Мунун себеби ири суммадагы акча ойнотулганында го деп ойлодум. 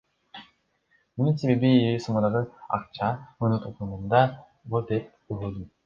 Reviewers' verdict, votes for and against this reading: rejected, 0, 2